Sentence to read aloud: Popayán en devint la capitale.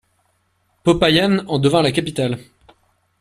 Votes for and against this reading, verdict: 2, 1, accepted